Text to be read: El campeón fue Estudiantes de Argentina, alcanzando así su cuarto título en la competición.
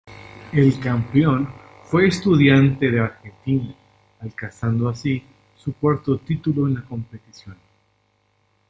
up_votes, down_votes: 1, 2